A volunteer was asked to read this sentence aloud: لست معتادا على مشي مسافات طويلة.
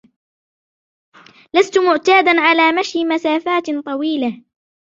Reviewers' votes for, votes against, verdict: 2, 0, accepted